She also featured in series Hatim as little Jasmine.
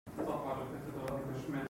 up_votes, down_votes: 0, 2